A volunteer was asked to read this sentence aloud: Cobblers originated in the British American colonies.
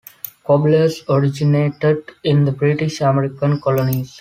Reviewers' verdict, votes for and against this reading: accepted, 2, 0